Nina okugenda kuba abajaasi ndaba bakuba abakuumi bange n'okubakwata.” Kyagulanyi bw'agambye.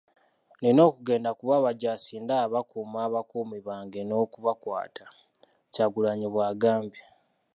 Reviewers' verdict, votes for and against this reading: accepted, 2, 0